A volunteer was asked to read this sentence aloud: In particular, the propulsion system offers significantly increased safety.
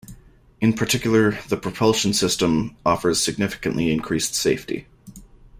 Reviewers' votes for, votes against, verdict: 2, 0, accepted